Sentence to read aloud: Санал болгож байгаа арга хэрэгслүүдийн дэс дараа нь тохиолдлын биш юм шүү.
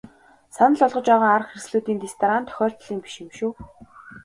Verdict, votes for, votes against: accepted, 2, 1